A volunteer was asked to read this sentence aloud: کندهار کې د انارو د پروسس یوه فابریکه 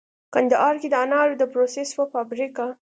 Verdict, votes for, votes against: accepted, 2, 0